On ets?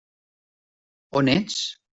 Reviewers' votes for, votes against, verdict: 3, 0, accepted